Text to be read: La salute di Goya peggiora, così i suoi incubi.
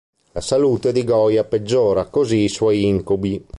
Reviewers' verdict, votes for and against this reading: accepted, 2, 0